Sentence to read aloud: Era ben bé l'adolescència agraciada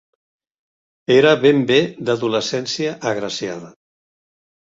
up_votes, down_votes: 0, 2